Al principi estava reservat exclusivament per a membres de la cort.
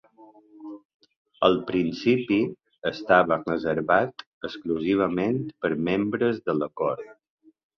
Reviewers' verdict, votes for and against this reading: rejected, 1, 3